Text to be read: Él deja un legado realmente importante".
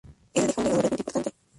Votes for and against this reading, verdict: 0, 2, rejected